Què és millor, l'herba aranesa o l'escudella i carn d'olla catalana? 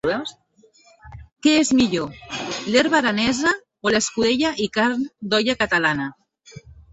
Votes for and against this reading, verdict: 1, 2, rejected